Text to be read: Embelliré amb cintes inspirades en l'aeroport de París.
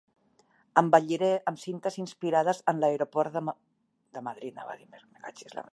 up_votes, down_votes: 0, 2